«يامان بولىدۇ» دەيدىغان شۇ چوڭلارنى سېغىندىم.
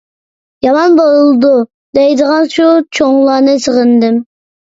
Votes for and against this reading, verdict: 2, 0, accepted